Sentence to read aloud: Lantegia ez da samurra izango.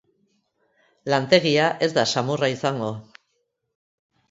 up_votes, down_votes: 2, 0